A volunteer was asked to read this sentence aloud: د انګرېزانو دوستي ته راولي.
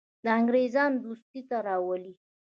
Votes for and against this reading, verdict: 1, 2, rejected